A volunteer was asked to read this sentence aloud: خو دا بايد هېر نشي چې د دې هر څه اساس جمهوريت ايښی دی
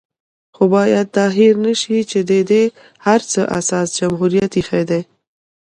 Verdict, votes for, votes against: rejected, 1, 2